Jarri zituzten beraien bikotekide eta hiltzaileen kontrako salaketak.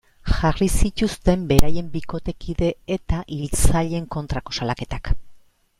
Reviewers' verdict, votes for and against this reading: rejected, 1, 2